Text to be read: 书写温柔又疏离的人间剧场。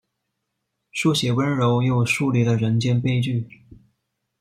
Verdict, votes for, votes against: rejected, 0, 2